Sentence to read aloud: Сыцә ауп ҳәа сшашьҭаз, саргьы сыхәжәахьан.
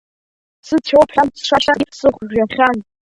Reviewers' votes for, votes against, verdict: 1, 2, rejected